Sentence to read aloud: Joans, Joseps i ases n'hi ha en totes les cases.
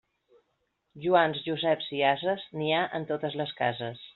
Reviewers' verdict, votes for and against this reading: accepted, 3, 0